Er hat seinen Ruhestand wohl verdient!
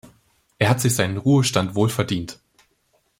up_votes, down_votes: 0, 2